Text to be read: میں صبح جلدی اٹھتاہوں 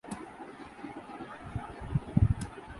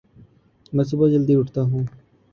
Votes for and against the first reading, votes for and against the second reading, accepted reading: 0, 2, 14, 1, second